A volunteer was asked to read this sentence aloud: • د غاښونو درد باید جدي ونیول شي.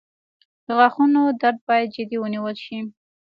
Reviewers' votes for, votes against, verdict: 3, 1, accepted